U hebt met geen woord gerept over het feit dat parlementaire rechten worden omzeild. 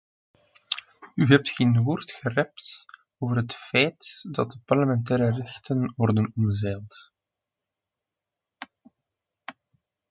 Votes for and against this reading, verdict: 1, 2, rejected